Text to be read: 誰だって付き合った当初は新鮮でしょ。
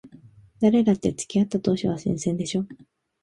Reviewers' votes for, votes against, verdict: 2, 1, accepted